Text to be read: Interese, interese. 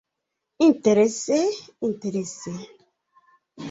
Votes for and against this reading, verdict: 2, 0, accepted